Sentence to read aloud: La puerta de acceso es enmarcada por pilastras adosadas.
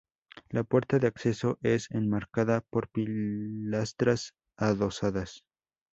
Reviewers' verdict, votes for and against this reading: rejected, 0, 2